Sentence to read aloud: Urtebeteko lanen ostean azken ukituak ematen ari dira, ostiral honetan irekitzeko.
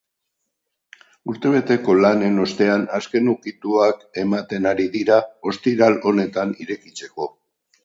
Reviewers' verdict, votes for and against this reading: accepted, 4, 0